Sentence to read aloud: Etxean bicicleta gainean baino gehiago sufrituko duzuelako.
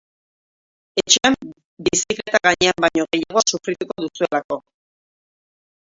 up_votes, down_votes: 3, 3